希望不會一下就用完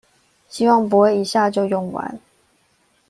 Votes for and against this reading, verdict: 2, 0, accepted